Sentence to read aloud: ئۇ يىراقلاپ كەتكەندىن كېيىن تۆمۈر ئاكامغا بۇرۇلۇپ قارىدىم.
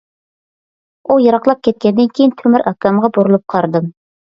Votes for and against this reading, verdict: 2, 0, accepted